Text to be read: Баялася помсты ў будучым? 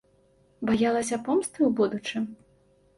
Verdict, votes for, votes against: accepted, 2, 0